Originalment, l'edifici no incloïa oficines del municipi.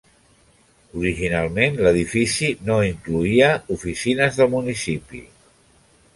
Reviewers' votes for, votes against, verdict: 0, 2, rejected